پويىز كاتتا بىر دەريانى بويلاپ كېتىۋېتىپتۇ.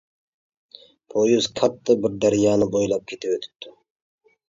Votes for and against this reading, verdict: 1, 2, rejected